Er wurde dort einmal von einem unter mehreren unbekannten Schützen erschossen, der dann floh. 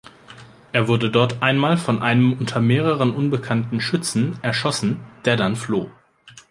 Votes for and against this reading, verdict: 2, 0, accepted